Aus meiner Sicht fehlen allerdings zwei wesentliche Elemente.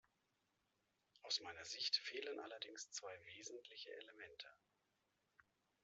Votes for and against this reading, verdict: 1, 2, rejected